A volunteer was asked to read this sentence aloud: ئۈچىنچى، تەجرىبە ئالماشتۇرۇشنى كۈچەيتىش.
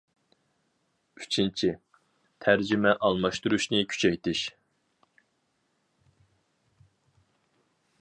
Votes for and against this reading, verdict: 0, 2, rejected